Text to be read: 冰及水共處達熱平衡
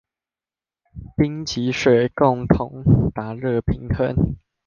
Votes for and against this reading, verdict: 0, 2, rejected